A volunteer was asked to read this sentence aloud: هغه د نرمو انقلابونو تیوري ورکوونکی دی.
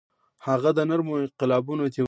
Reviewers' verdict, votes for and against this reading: rejected, 1, 2